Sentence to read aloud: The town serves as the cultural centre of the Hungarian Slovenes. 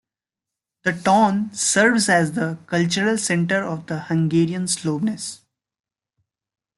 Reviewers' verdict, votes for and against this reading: accepted, 2, 1